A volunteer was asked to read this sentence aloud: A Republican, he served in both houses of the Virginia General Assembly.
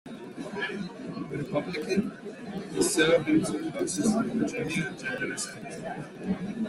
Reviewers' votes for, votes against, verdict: 0, 2, rejected